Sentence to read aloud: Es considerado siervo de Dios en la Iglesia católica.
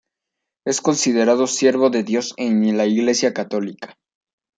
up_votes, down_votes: 1, 2